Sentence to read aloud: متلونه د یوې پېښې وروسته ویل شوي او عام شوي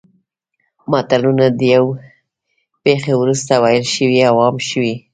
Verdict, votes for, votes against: rejected, 1, 2